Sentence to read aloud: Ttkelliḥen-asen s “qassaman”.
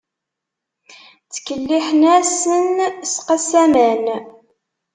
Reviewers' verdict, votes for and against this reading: rejected, 0, 2